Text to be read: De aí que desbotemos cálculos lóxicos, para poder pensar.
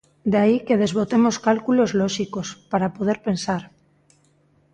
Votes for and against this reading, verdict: 2, 0, accepted